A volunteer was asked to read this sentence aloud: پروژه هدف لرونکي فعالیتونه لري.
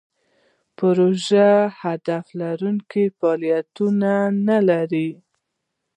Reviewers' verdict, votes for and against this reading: rejected, 1, 2